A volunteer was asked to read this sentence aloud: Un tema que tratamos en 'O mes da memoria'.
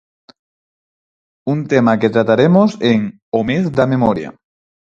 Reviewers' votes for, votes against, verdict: 2, 4, rejected